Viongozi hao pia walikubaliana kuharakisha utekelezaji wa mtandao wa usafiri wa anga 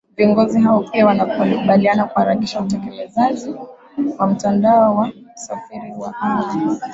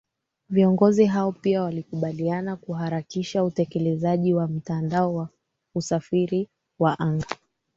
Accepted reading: second